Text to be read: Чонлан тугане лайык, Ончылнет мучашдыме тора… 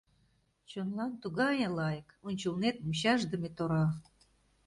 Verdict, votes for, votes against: rejected, 1, 2